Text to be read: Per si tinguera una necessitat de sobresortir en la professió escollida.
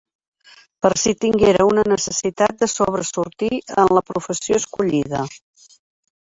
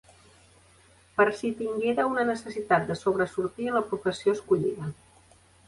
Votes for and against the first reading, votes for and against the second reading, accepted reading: 1, 2, 2, 0, second